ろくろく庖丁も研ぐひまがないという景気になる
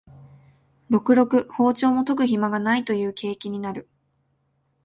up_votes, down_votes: 2, 0